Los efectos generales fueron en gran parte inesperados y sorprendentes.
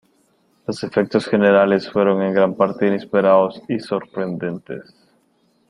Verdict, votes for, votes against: accepted, 2, 1